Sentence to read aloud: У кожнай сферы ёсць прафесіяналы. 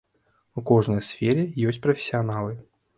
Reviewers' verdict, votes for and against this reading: accepted, 2, 0